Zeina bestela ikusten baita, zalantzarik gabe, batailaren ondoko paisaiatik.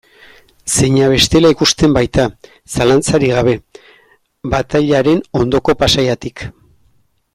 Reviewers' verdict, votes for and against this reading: rejected, 0, 2